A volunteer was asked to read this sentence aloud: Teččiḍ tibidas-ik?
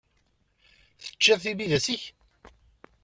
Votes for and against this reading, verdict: 2, 0, accepted